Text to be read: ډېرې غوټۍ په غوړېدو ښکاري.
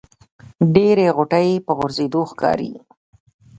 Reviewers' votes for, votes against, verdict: 0, 2, rejected